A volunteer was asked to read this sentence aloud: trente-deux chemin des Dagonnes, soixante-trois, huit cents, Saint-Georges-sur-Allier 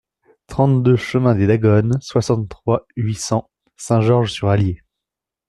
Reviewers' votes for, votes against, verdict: 2, 0, accepted